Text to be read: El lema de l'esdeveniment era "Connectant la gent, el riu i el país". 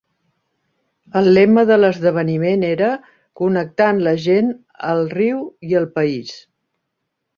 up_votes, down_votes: 3, 0